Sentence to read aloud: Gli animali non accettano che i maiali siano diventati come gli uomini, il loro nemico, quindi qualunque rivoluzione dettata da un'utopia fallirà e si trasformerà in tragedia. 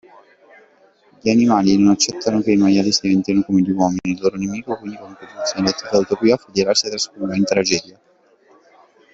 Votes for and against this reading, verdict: 0, 3, rejected